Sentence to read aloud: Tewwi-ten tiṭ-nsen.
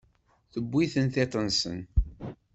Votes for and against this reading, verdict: 2, 0, accepted